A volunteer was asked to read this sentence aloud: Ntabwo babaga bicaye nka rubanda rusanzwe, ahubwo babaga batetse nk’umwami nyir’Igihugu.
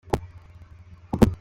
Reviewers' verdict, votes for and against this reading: rejected, 0, 2